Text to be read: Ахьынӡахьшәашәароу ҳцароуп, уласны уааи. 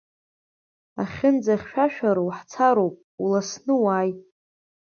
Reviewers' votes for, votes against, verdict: 2, 0, accepted